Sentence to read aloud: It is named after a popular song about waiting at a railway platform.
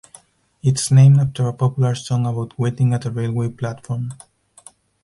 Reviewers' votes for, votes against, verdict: 2, 4, rejected